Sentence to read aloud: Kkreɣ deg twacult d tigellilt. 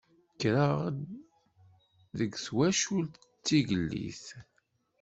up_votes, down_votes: 1, 2